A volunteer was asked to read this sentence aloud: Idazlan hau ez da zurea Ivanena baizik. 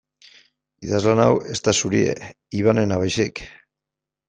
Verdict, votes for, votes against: rejected, 1, 2